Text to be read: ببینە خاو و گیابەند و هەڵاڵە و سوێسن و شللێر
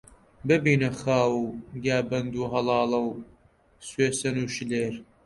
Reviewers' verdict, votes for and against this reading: rejected, 1, 2